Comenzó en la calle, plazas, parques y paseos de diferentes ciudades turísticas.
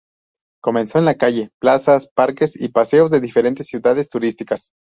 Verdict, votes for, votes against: rejected, 0, 2